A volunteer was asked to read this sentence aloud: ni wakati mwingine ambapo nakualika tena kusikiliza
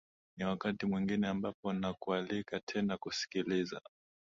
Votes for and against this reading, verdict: 2, 0, accepted